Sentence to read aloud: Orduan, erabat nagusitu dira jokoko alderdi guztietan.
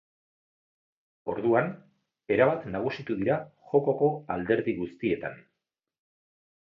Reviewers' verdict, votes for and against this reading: accepted, 2, 0